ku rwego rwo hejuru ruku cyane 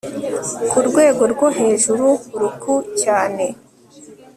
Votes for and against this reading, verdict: 3, 0, accepted